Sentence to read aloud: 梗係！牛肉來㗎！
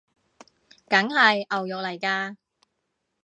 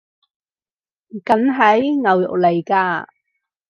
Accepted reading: first